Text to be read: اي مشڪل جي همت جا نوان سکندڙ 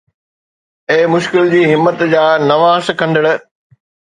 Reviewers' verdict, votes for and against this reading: accepted, 2, 0